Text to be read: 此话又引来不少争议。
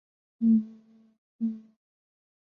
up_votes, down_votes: 0, 5